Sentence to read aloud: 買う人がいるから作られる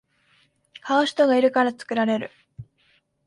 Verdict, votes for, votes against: accepted, 2, 0